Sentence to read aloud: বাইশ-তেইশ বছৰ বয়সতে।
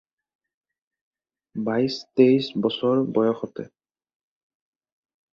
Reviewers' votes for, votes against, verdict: 2, 2, rejected